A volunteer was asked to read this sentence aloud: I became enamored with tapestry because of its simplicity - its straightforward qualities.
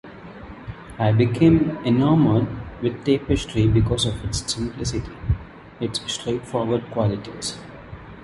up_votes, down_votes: 2, 0